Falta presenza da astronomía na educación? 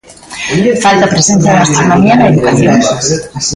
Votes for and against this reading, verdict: 0, 2, rejected